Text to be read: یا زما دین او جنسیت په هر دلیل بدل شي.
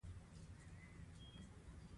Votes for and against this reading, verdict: 1, 2, rejected